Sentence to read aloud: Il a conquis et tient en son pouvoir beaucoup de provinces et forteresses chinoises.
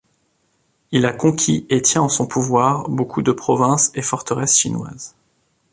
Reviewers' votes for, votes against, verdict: 2, 0, accepted